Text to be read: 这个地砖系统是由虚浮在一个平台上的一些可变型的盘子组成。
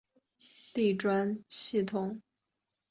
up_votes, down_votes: 0, 3